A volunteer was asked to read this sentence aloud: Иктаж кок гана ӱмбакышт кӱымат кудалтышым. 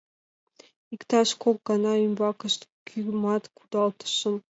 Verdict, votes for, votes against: accepted, 2, 0